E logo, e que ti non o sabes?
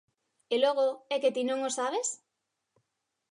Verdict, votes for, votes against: accepted, 2, 0